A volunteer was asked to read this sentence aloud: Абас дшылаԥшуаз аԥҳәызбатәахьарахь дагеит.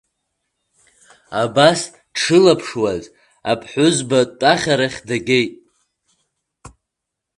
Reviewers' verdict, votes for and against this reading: accepted, 2, 1